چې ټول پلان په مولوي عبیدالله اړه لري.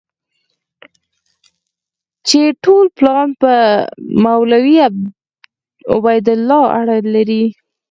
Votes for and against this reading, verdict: 6, 0, accepted